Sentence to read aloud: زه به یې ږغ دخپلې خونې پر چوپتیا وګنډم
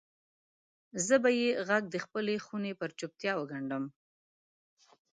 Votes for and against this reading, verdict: 2, 0, accepted